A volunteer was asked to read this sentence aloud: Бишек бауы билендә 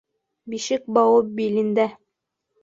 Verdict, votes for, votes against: accepted, 3, 0